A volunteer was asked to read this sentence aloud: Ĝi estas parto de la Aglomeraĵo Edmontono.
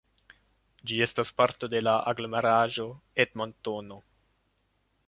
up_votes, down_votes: 2, 0